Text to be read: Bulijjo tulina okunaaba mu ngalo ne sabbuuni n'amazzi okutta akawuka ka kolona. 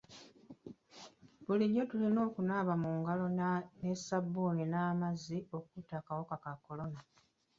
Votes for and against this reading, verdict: 0, 2, rejected